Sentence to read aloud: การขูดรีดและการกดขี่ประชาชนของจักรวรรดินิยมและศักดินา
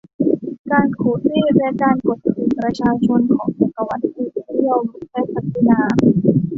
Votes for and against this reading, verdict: 1, 2, rejected